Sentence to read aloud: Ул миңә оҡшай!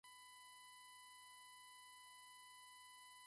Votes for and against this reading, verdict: 1, 4, rejected